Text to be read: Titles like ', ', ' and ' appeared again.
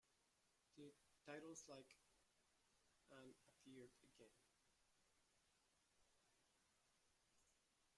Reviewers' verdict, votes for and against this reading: rejected, 0, 2